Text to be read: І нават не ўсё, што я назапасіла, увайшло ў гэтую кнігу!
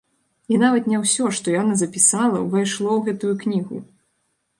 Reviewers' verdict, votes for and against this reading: rejected, 1, 2